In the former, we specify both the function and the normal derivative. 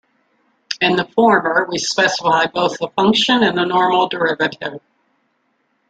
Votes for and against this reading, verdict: 2, 1, accepted